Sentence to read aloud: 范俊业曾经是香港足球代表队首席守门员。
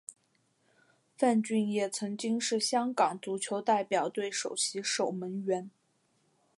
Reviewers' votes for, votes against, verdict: 3, 0, accepted